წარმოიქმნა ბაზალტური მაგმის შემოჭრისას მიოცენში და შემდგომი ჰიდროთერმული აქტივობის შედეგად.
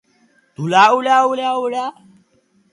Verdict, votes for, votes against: rejected, 0, 2